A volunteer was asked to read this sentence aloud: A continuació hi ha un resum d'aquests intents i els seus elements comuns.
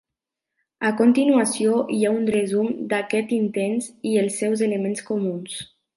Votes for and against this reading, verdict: 2, 0, accepted